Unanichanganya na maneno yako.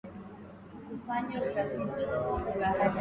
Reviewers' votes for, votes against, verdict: 0, 3, rejected